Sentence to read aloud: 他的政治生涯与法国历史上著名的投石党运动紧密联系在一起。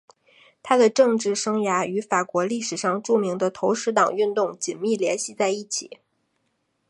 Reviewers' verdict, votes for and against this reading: accepted, 2, 0